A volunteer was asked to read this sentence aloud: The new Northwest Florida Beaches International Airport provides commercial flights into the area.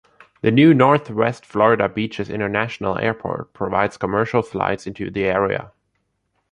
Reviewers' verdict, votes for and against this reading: accepted, 3, 0